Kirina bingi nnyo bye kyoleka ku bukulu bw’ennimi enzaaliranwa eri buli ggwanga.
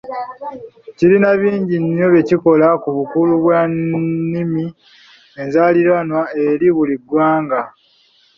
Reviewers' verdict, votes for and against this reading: rejected, 1, 2